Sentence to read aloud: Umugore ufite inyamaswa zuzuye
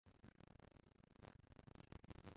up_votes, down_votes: 0, 2